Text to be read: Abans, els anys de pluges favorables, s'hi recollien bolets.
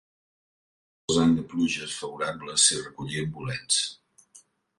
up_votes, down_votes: 0, 2